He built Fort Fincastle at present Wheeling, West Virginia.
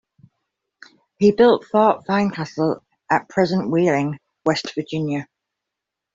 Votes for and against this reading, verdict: 2, 0, accepted